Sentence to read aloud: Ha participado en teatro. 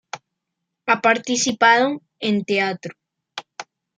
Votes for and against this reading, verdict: 1, 2, rejected